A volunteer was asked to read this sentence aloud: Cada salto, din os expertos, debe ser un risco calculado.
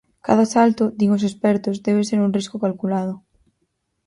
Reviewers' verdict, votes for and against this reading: accepted, 4, 2